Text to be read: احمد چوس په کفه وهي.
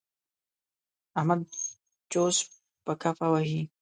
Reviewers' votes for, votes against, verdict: 1, 2, rejected